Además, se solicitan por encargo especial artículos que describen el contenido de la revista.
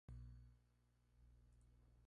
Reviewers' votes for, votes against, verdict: 0, 2, rejected